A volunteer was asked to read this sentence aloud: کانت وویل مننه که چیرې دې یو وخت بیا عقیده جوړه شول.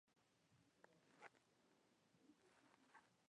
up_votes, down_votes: 0, 2